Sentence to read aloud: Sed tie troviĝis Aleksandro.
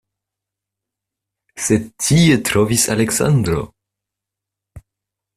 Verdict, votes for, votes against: rejected, 0, 2